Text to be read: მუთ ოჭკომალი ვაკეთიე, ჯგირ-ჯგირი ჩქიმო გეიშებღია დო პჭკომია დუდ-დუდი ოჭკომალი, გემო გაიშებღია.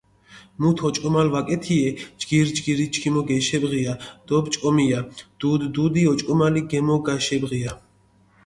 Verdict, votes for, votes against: accepted, 2, 0